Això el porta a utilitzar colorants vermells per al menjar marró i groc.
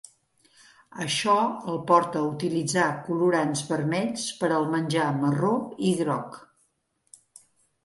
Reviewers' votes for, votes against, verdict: 2, 0, accepted